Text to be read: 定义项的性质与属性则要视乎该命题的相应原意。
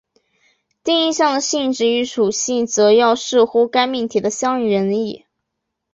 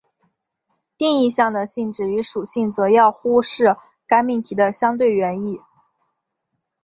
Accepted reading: first